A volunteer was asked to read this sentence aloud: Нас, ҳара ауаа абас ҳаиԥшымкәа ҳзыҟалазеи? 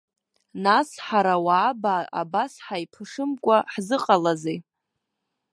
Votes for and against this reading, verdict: 0, 2, rejected